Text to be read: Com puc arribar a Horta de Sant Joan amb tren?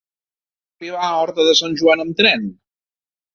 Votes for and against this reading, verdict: 0, 2, rejected